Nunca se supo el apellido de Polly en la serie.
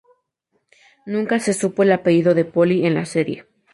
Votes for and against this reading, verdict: 2, 0, accepted